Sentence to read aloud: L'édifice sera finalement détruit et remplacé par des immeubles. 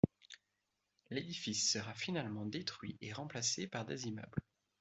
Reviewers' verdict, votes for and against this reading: accepted, 2, 0